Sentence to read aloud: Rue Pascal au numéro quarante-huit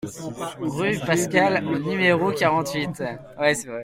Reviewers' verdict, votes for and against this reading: rejected, 0, 2